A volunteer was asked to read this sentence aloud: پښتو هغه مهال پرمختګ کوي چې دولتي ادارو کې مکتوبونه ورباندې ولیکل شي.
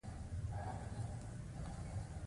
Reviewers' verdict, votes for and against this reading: rejected, 1, 2